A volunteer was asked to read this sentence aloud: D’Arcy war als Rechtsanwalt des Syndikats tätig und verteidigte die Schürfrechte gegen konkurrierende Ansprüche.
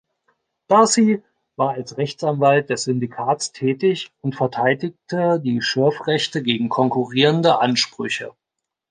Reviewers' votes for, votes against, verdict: 2, 0, accepted